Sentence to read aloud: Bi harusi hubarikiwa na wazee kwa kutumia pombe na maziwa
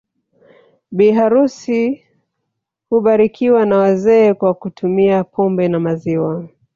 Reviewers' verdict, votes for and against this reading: accepted, 6, 0